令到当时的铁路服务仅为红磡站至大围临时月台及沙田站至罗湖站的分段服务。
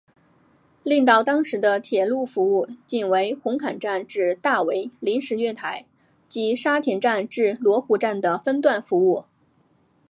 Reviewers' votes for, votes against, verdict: 3, 1, accepted